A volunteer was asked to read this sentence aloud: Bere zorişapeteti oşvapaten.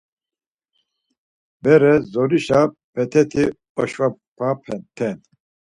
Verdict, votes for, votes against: rejected, 0, 4